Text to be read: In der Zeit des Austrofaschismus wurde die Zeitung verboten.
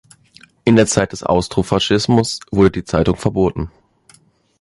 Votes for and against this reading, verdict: 2, 0, accepted